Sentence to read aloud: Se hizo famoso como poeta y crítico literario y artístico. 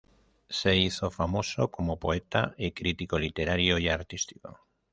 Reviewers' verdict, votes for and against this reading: rejected, 1, 2